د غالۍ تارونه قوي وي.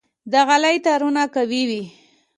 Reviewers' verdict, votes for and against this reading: accepted, 2, 0